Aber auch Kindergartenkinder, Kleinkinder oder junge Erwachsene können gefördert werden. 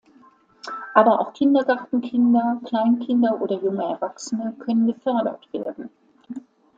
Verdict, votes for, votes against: accepted, 2, 0